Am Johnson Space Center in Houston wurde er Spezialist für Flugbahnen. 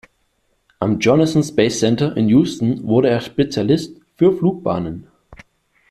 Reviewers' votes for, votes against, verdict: 1, 2, rejected